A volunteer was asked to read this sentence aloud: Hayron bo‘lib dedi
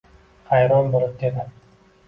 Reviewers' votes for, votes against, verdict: 2, 1, accepted